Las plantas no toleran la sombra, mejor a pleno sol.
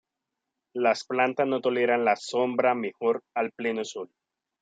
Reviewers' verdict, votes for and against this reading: accepted, 2, 1